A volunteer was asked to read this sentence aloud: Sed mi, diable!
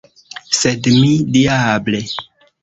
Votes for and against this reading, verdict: 1, 2, rejected